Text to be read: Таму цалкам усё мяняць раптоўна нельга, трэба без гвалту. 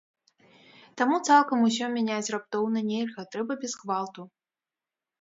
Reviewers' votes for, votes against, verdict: 0, 2, rejected